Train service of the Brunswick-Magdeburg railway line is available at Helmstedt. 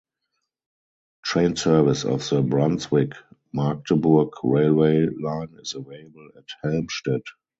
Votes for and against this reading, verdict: 2, 0, accepted